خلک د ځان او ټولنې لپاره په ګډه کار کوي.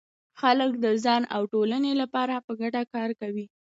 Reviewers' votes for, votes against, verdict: 2, 0, accepted